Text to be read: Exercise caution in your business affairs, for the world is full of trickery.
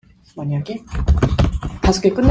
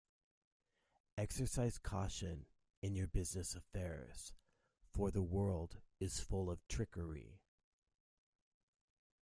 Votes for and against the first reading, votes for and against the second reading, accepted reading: 0, 2, 2, 0, second